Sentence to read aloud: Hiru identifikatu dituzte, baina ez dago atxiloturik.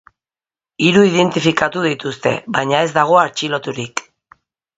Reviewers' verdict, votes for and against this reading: accepted, 2, 0